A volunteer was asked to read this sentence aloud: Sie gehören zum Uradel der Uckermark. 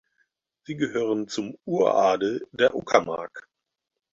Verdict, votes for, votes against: accepted, 4, 0